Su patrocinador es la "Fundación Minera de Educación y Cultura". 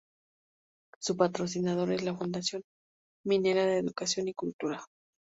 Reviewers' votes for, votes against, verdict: 0, 2, rejected